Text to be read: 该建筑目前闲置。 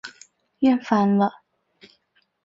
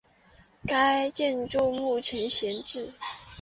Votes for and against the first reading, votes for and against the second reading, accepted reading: 1, 2, 2, 1, second